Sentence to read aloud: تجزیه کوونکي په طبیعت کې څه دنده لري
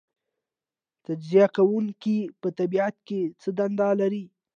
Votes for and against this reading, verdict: 2, 0, accepted